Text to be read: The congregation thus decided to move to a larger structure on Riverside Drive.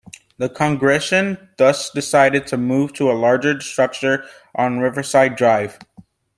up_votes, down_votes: 0, 2